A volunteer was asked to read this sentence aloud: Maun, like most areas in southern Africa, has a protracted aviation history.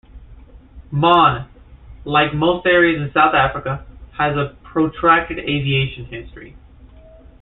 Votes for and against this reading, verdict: 1, 2, rejected